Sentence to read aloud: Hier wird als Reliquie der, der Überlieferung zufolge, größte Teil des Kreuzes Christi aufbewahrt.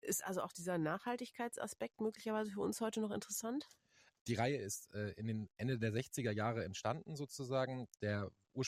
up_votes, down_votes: 0, 2